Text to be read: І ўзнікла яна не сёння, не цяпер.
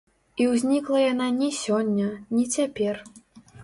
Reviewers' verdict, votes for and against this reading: rejected, 1, 2